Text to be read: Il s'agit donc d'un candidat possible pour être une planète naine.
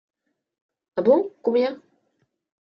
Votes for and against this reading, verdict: 0, 2, rejected